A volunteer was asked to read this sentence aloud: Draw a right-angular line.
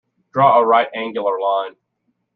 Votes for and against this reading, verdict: 2, 0, accepted